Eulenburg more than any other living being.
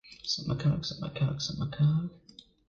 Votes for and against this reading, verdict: 0, 2, rejected